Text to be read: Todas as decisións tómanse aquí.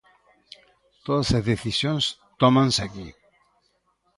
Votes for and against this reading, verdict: 2, 0, accepted